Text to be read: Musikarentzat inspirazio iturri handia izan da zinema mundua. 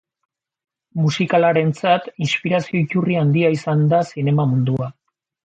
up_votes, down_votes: 0, 2